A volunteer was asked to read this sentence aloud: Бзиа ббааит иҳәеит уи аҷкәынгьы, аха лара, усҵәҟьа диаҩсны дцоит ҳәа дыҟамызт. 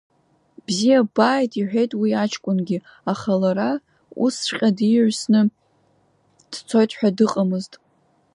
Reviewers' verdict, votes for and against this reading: rejected, 0, 2